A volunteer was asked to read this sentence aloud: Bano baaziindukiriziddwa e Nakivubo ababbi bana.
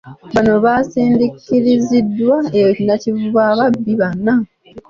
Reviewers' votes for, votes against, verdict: 2, 0, accepted